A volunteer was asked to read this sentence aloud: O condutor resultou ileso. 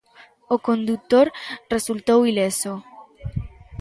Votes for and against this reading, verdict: 2, 0, accepted